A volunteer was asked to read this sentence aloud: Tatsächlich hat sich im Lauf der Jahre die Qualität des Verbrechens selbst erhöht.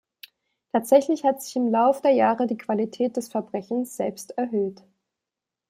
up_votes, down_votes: 2, 0